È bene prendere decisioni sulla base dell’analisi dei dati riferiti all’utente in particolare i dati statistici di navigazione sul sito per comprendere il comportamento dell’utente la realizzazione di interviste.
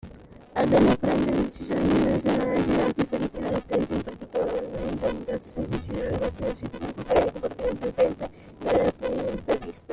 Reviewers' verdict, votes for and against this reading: rejected, 0, 2